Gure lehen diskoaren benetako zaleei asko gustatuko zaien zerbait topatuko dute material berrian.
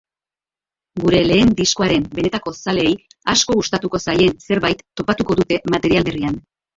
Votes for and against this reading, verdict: 0, 2, rejected